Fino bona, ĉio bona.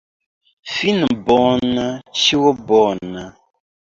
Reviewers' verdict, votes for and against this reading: rejected, 0, 2